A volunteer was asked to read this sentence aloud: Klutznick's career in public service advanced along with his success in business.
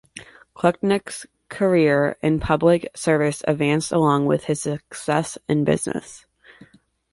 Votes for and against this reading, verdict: 1, 2, rejected